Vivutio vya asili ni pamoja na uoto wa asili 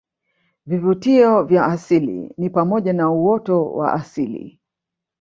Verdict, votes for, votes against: rejected, 1, 2